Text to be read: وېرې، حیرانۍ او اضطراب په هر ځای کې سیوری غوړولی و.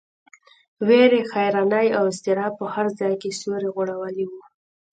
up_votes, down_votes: 3, 0